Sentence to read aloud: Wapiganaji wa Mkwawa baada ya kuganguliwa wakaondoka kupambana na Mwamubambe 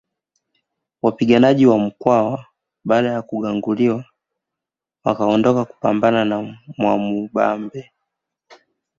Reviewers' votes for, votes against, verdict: 0, 2, rejected